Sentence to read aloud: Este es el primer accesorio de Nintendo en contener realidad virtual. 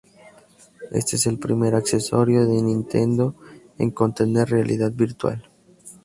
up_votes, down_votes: 2, 0